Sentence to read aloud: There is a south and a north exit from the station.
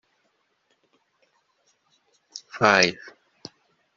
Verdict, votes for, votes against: rejected, 0, 2